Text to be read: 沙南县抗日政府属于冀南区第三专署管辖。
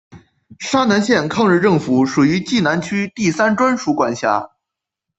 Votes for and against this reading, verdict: 2, 0, accepted